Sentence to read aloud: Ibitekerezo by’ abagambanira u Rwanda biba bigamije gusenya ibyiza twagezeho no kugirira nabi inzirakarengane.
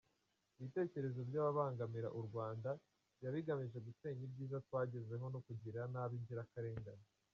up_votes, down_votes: 1, 2